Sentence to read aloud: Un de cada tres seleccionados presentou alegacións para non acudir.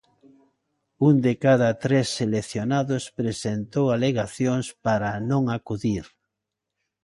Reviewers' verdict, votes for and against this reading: accepted, 2, 0